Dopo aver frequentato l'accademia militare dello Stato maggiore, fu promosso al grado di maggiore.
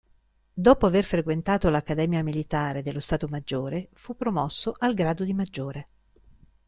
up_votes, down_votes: 2, 0